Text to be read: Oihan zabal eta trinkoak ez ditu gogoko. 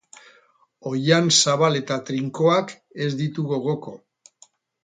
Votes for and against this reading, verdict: 4, 0, accepted